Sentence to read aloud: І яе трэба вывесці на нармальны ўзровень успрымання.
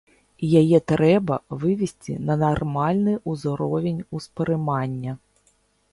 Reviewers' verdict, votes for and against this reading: rejected, 1, 2